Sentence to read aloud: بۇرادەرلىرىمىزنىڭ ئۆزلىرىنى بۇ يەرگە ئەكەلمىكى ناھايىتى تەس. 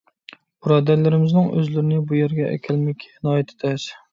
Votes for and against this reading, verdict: 2, 0, accepted